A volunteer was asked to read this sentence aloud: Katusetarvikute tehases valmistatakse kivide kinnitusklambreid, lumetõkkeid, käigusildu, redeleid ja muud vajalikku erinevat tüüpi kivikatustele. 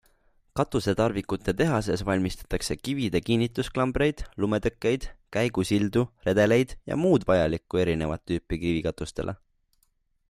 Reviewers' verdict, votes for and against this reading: accepted, 3, 0